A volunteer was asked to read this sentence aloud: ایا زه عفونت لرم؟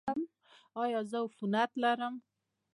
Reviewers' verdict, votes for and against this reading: accepted, 2, 0